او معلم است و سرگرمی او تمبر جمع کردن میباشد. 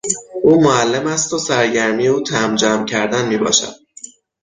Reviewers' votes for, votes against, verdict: 6, 0, accepted